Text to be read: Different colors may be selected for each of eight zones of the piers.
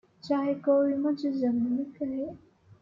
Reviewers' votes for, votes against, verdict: 0, 2, rejected